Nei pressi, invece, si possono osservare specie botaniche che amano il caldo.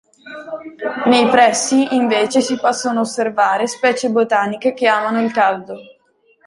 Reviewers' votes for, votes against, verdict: 2, 0, accepted